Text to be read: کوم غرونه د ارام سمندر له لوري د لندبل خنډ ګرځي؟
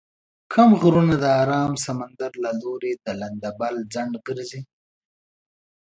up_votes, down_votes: 2, 0